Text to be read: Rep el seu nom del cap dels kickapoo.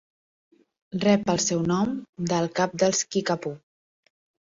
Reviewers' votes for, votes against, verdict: 2, 0, accepted